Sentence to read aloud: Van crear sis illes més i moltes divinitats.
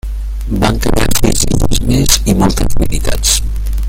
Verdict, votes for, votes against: rejected, 1, 2